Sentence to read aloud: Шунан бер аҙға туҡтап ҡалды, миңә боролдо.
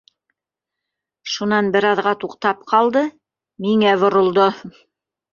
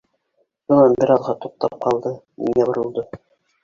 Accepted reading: first